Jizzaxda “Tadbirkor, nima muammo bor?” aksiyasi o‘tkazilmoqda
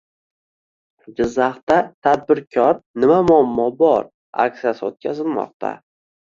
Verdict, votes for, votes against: accepted, 2, 0